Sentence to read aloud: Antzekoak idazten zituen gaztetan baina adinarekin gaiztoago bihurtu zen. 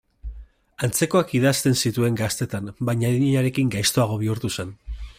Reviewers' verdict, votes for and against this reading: accepted, 2, 0